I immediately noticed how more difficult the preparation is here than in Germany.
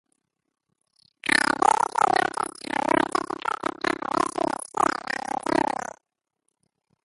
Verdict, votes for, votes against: rejected, 0, 2